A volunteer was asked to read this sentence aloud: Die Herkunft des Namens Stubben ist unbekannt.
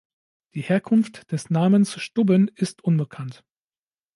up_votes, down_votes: 2, 0